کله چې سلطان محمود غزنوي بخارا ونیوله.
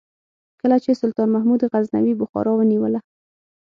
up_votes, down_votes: 6, 0